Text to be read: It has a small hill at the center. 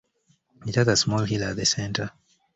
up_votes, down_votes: 2, 0